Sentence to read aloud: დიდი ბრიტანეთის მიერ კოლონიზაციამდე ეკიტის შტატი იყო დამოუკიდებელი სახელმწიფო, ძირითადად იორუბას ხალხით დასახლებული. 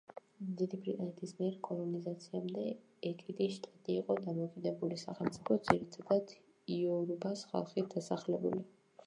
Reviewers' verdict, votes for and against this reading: rejected, 0, 2